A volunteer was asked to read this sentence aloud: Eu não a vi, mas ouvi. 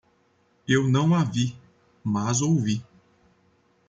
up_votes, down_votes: 2, 0